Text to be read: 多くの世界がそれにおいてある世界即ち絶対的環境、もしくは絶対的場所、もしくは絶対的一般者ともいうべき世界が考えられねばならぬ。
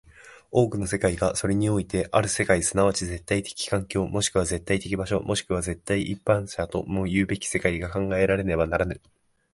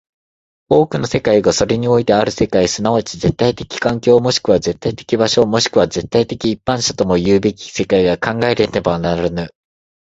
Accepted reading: second